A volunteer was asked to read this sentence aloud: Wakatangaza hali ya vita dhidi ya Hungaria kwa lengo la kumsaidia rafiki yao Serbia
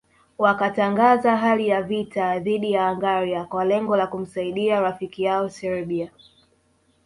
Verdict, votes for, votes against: accepted, 2, 0